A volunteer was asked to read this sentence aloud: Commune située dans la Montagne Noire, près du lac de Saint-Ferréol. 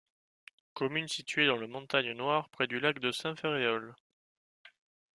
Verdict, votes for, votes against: rejected, 0, 2